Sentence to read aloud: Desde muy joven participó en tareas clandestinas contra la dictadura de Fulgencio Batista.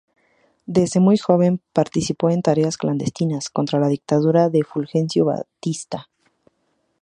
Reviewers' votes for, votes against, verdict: 2, 2, rejected